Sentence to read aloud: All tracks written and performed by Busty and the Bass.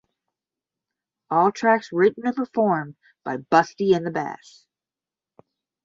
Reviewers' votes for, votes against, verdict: 10, 5, accepted